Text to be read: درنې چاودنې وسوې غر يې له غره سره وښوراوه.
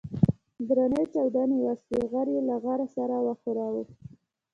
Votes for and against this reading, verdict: 2, 0, accepted